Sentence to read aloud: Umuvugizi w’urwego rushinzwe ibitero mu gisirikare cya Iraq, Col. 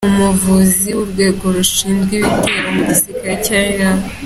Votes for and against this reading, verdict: 1, 2, rejected